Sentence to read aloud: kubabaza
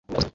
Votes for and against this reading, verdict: 1, 2, rejected